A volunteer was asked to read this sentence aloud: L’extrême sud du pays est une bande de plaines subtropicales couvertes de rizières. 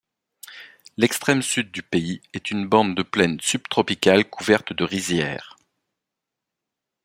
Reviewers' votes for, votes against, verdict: 2, 0, accepted